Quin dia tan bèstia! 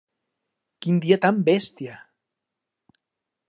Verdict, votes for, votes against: accepted, 3, 0